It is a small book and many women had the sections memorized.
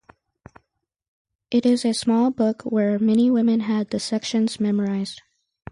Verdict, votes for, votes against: accepted, 2, 0